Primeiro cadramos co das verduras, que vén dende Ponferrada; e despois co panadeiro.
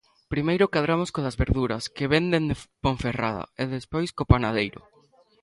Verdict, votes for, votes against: rejected, 1, 2